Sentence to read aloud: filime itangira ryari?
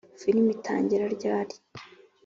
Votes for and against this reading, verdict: 2, 0, accepted